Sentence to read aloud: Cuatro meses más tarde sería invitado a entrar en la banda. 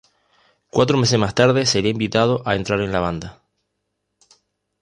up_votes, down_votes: 2, 0